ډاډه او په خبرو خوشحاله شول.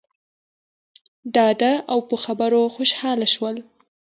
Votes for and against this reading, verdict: 2, 0, accepted